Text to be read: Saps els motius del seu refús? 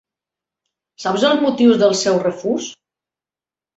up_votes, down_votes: 2, 0